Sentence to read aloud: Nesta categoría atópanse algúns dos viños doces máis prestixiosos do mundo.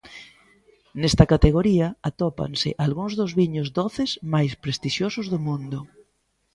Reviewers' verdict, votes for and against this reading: accepted, 2, 0